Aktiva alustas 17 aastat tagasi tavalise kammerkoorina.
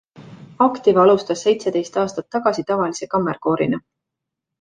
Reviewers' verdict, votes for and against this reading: rejected, 0, 2